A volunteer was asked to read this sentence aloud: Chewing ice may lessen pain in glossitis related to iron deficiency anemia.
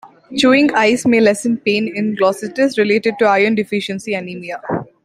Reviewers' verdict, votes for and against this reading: accepted, 2, 0